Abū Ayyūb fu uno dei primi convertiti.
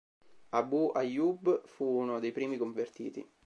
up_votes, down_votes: 2, 0